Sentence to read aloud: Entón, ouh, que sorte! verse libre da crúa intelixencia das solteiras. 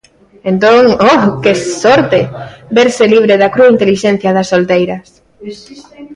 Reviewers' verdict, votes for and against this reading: rejected, 0, 2